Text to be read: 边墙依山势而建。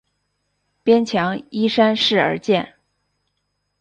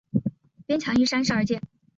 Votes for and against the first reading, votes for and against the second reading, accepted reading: 6, 0, 1, 2, first